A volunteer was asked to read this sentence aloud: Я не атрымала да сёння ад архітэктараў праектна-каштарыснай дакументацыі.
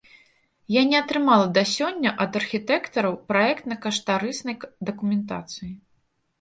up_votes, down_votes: 1, 2